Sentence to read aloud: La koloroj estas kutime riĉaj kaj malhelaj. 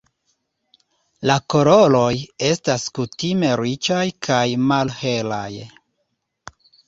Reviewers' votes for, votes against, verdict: 2, 0, accepted